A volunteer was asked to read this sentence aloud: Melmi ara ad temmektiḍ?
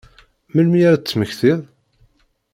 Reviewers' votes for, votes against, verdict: 2, 0, accepted